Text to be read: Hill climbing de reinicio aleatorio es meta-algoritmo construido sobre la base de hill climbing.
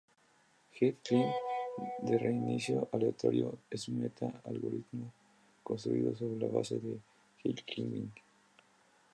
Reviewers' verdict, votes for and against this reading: rejected, 0, 2